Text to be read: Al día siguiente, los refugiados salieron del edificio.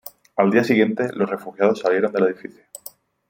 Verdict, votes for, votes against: accepted, 2, 0